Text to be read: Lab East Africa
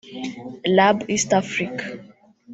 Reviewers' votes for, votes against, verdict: 1, 2, rejected